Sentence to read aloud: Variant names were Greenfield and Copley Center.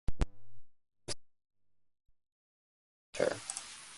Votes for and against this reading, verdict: 0, 2, rejected